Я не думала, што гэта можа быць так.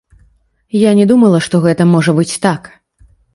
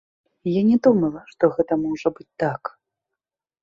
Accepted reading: second